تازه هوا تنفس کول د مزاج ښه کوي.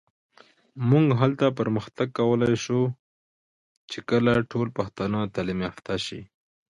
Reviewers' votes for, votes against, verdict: 0, 2, rejected